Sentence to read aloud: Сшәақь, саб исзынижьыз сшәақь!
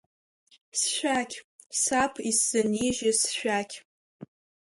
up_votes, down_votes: 2, 1